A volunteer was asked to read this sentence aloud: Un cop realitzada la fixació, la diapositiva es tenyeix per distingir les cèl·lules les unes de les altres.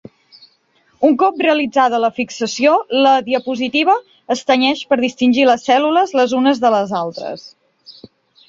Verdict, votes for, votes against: accepted, 5, 0